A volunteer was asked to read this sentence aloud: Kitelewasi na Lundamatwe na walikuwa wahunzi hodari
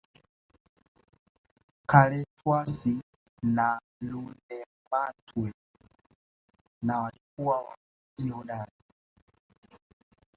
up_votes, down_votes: 1, 2